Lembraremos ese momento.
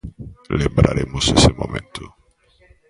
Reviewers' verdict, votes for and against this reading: rejected, 1, 2